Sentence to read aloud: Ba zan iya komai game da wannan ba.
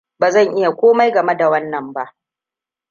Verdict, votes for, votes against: rejected, 1, 2